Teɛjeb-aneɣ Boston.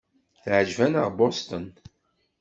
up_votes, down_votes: 2, 0